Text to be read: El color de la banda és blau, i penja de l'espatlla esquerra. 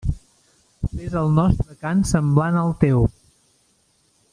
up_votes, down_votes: 1, 3